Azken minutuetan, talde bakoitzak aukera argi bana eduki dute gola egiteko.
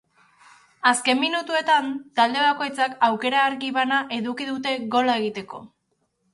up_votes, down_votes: 2, 0